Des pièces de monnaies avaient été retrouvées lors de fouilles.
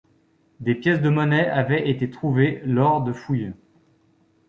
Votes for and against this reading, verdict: 1, 2, rejected